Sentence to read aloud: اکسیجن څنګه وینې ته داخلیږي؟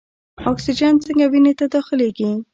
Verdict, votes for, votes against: rejected, 0, 2